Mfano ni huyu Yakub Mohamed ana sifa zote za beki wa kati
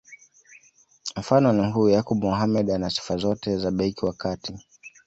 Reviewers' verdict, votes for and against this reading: accepted, 2, 0